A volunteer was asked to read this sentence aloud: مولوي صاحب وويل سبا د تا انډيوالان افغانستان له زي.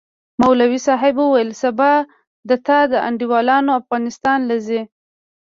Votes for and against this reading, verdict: 2, 0, accepted